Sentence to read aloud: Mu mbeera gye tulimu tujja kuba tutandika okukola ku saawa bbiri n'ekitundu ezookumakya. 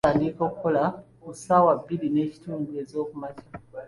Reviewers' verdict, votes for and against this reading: rejected, 1, 2